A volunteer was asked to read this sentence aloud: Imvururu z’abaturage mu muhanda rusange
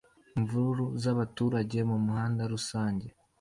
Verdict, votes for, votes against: accepted, 2, 0